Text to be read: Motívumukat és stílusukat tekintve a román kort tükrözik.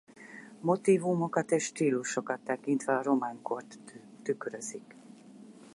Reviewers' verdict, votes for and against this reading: rejected, 0, 4